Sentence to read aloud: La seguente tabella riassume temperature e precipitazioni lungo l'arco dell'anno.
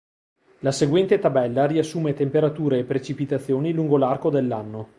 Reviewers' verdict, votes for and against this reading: accepted, 2, 0